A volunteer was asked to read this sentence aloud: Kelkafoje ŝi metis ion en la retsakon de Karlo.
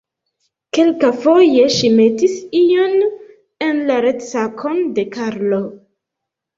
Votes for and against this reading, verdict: 1, 2, rejected